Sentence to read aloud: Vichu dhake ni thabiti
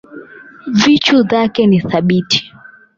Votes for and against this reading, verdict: 4, 8, rejected